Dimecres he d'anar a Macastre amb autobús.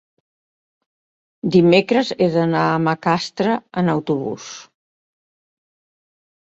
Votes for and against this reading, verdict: 0, 2, rejected